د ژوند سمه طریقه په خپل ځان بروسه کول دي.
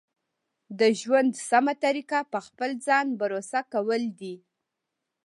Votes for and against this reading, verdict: 2, 0, accepted